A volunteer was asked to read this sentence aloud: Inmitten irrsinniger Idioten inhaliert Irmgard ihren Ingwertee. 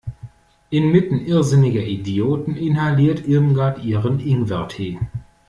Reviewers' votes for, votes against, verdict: 2, 0, accepted